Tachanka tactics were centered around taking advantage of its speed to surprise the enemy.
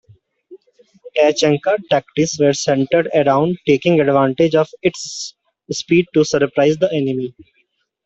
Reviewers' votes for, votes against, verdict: 2, 0, accepted